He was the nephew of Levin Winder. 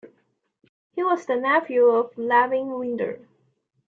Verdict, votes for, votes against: accepted, 2, 1